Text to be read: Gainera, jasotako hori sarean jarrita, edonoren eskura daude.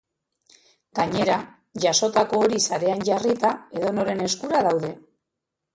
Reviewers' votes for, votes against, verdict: 0, 2, rejected